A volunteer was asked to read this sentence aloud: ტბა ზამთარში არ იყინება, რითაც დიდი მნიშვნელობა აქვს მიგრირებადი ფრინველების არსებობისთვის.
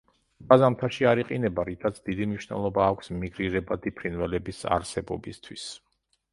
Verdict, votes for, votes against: rejected, 1, 2